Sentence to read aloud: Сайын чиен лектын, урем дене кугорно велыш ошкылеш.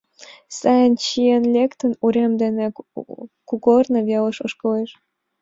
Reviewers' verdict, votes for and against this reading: accepted, 2, 0